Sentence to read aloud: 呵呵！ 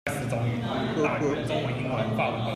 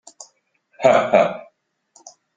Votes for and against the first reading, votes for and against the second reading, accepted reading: 0, 2, 2, 0, second